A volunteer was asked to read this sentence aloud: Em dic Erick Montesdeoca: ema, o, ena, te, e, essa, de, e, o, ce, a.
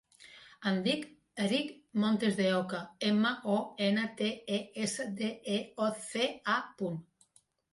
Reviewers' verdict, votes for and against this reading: rejected, 0, 2